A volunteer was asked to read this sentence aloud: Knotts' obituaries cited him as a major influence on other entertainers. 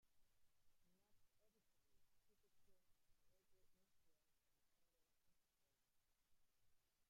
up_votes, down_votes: 1, 2